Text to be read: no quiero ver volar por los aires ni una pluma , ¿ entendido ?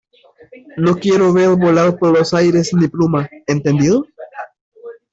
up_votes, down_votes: 1, 2